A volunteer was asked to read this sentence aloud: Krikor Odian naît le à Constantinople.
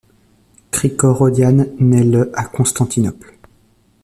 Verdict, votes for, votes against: accepted, 2, 0